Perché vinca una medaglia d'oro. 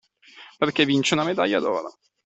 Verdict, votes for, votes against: rejected, 1, 2